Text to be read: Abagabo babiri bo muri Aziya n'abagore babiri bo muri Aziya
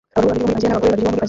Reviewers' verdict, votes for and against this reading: rejected, 1, 2